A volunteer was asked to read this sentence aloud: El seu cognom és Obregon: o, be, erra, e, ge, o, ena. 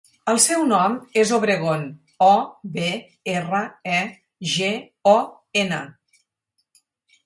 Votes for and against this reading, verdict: 0, 4, rejected